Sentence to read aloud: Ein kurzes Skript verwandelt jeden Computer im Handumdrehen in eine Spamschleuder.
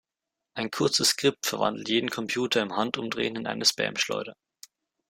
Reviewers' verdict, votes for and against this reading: accepted, 2, 0